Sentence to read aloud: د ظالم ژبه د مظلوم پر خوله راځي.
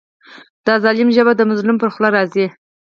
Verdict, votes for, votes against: rejected, 2, 4